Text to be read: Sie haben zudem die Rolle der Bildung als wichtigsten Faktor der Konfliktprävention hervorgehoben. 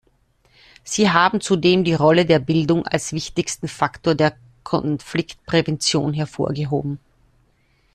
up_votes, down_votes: 1, 2